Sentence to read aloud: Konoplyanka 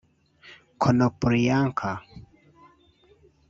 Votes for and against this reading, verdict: 0, 2, rejected